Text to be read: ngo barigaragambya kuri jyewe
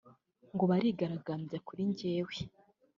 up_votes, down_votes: 2, 0